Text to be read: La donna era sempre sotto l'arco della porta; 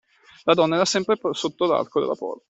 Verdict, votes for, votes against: rejected, 0, 2